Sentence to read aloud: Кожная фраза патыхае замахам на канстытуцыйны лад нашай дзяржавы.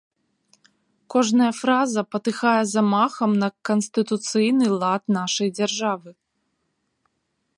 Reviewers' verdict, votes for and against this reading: accepted, 2, 0